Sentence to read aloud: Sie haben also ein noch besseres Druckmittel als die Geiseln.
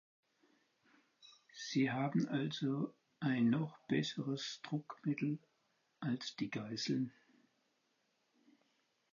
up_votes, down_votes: 4, 0